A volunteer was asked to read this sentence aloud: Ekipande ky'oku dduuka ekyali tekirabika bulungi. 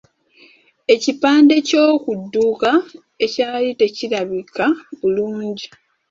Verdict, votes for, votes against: rejected, 1, 2